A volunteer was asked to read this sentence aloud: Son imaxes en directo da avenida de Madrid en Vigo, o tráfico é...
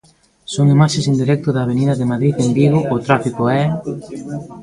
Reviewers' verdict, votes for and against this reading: rejected, 0, 2